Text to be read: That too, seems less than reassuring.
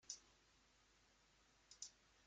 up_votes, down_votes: 0, 2